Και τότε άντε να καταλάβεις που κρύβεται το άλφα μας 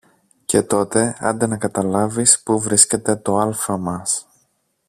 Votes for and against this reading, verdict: 1, 2, rejected